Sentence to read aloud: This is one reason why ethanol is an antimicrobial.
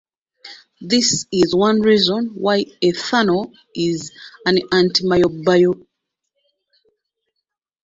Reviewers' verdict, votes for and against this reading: rejected, 0, 2